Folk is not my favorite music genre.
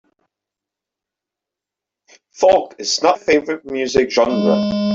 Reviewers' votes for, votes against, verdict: 1, 2, rejected